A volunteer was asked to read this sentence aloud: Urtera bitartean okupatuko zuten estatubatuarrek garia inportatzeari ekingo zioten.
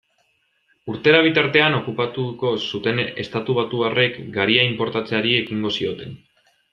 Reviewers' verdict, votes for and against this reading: accepted, 2, 0